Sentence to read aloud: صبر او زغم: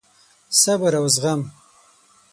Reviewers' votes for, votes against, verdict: 6, 0, accepted